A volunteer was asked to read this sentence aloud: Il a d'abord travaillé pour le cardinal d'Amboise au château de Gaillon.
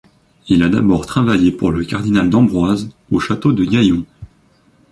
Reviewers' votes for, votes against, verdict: 0, 2, rejected